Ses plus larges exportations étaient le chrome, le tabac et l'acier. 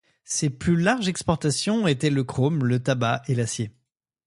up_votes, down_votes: 2, 0